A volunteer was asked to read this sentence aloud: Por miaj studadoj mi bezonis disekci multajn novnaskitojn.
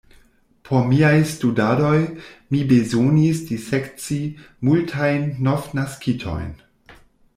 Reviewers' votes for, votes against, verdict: 2, 1, accepted